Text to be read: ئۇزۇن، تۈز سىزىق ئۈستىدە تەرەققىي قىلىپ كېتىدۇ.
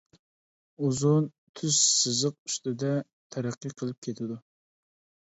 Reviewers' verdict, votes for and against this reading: accepted, 2, 0